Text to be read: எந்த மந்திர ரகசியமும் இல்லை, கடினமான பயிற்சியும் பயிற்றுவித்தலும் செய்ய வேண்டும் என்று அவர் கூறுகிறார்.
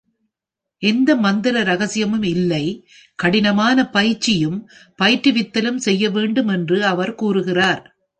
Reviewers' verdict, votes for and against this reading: accepted, 2, 0